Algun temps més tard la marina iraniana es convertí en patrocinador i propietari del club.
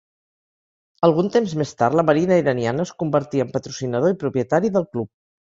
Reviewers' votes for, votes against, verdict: 4, 0, accepted